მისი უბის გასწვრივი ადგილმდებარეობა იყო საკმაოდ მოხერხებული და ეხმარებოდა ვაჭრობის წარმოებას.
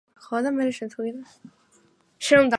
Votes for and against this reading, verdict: 0, 2, rejected